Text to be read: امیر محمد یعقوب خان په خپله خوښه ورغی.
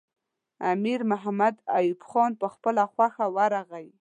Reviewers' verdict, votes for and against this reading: accepted, 2, 0